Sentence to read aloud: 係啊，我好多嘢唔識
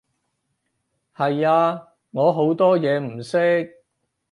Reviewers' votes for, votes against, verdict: 6, 0, accepted